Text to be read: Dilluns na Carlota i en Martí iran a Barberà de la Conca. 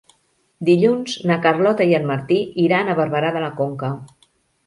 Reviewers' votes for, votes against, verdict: 3, 0, accepted